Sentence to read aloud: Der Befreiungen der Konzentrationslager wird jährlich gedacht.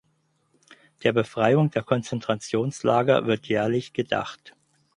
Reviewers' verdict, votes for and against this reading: rejected, 2, 4